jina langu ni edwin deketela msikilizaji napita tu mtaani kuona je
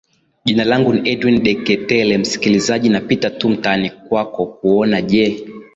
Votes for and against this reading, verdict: 0, 2, rejected